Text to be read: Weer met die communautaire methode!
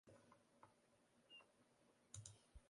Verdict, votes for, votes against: rejected, 0, 2